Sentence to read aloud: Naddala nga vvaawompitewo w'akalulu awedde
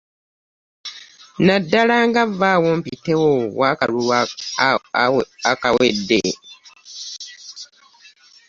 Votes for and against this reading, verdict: 0, 2, rejected